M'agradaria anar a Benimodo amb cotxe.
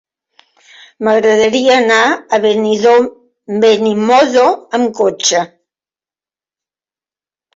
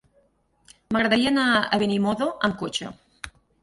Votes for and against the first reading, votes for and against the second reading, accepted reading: 0, 2, 8, 0, second